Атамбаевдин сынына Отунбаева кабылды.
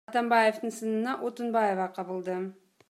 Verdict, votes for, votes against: accepted, 2, 0